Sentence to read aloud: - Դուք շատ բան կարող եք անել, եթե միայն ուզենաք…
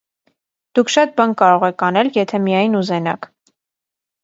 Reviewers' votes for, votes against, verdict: 2, 0, accepted